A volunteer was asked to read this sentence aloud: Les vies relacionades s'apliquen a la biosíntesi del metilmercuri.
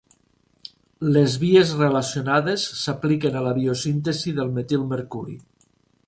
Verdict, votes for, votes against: accepted, 2, 0